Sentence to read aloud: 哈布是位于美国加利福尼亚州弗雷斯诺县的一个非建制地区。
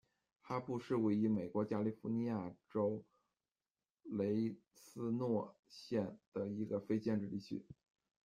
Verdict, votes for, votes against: rejected, 1, 2